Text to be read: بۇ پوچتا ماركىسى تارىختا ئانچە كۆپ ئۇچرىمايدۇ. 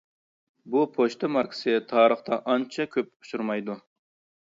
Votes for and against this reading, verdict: 2, 0, accepted